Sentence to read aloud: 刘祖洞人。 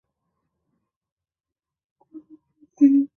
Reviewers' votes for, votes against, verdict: 2, 3, rejected